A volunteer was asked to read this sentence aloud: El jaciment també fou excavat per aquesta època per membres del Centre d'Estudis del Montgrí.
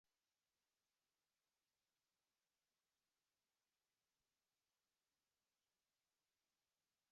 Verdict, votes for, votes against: rejected, 1, 2